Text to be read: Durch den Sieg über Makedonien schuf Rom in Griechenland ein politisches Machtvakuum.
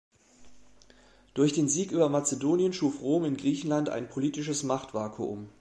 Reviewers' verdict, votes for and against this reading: rejected, 0, 2